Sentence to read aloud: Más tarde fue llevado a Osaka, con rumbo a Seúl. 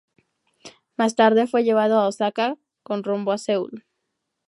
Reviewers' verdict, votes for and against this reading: accepted, 2, 0